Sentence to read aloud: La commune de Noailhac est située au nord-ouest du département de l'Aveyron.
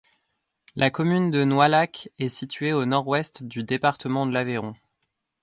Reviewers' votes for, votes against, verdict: 2, 0, accepted